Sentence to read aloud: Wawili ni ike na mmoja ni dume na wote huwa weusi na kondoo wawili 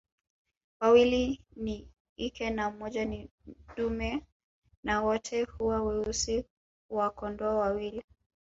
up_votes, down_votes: 1, 2